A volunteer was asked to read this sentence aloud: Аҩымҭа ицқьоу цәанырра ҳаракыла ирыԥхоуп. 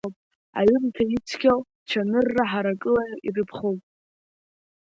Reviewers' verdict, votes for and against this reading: accepted, 2, 0